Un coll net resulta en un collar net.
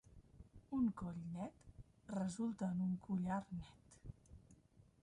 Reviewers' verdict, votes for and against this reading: rejected, 1, 2